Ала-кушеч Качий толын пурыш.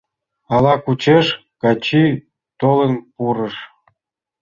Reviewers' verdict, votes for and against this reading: rejected, 1, 2